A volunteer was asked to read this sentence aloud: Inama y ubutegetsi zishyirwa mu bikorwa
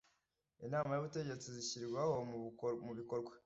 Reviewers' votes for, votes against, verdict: 1, 2, rejected